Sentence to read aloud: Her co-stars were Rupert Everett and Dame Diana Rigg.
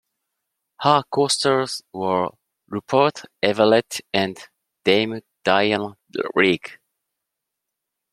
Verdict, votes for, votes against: rejected, 1, 2